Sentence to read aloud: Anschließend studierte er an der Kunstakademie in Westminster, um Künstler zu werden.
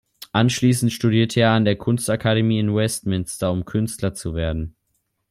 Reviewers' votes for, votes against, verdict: 2, 0, accepted